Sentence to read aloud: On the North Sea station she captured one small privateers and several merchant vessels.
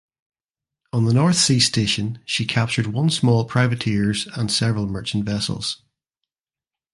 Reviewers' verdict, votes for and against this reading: accepted, 2, 0